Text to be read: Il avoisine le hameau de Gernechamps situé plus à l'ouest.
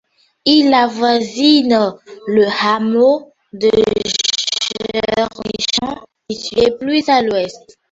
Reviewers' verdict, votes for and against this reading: rejected, 1, 2